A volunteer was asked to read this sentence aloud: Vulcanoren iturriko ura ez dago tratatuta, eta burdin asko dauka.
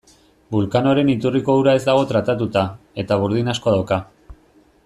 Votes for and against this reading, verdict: 3, 0, accepted